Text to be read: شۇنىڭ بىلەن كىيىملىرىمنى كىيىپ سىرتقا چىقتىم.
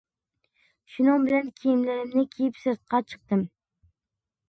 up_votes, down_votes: 2, 1